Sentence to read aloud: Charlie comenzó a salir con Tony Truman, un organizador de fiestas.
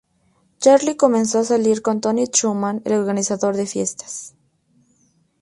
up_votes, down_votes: 2, 2